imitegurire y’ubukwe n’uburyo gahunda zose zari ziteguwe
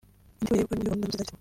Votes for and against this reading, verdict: 1, 2, rejected